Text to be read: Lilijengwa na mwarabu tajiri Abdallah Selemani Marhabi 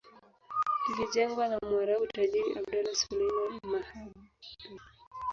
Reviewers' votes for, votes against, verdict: 1, 2, rejected